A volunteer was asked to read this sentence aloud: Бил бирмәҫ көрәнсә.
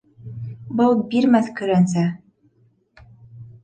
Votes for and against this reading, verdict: 1, 2, rejected